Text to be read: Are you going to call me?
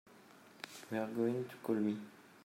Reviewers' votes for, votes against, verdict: 1, 2, rejected